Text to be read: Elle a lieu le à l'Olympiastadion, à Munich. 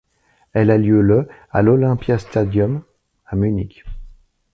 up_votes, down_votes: 0, 2